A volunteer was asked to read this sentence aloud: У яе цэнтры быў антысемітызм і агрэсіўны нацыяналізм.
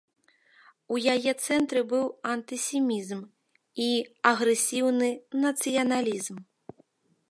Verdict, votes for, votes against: rejected, 0, 2